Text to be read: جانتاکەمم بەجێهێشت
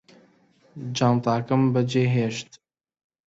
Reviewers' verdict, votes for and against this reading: accepted, 2, 1